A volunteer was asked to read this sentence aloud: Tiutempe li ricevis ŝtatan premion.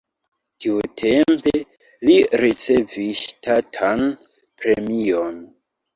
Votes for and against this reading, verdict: 2, 0, accepted